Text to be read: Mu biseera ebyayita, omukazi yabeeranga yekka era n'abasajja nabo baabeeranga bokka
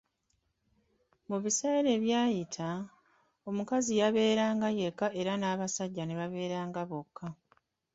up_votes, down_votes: 1, 2